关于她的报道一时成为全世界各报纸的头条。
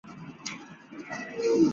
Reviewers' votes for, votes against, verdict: 1, 3, rejected